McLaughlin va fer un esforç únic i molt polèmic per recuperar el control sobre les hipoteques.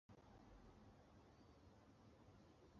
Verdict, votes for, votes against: rejected, 0, 2